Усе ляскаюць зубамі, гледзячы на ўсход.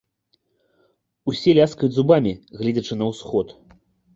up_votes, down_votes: 2, 0